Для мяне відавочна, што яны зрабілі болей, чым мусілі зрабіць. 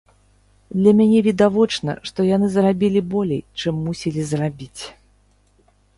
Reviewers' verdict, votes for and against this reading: accepted, 3, 0